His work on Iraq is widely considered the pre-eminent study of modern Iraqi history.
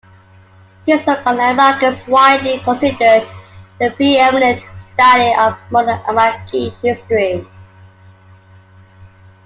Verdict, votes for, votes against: accepted, 2, 0